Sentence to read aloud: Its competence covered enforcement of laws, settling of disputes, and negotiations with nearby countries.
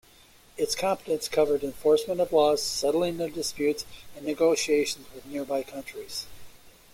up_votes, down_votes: 2, 0